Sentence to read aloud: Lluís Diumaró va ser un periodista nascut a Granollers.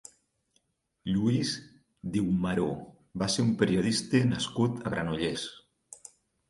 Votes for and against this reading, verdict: 6, 0, accepted